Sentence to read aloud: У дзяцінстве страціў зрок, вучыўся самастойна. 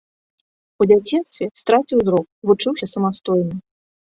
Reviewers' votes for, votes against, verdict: 1, 2, rejected